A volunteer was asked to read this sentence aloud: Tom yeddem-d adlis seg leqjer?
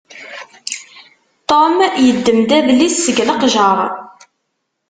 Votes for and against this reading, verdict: 1, 2, rejected